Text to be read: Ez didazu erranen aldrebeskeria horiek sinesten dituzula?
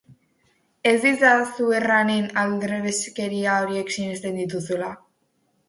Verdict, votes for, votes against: accepted, 2, 0